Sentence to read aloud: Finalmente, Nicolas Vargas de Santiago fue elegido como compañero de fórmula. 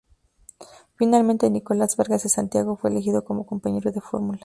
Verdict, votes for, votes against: accepted, 2, 0